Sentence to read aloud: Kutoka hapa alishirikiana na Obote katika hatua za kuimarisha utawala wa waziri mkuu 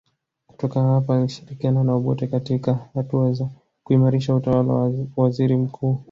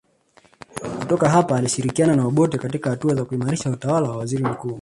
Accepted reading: first